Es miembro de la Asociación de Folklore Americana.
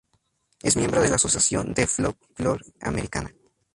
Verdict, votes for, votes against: rejected, 0, 2